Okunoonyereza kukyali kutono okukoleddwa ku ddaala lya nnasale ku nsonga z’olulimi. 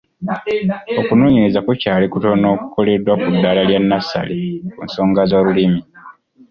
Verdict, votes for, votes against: rejected, 1, 2